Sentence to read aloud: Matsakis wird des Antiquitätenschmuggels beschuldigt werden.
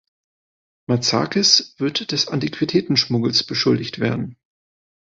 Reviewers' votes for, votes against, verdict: 2, 0, accepted